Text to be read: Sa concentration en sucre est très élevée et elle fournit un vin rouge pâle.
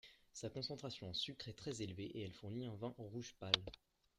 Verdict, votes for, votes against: rejected, 2, 3